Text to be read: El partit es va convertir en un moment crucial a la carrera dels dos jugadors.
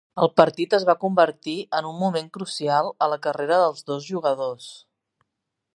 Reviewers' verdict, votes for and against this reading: accepted, 3, 1